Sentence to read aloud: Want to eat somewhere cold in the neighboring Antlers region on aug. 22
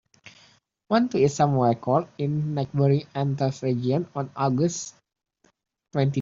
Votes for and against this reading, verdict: 0, 2, rejected